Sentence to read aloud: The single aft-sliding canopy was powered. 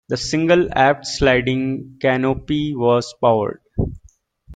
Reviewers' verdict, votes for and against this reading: rejected, 1, 2